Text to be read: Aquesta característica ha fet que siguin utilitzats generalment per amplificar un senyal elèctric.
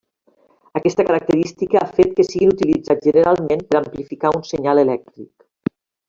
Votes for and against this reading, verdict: 2, 1, accepted